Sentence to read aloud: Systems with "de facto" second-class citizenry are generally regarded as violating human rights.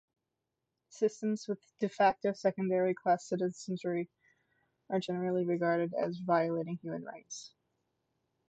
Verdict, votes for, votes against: accepted, 2, 1